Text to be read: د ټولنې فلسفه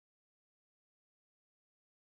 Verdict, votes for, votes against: rejected, 0, 2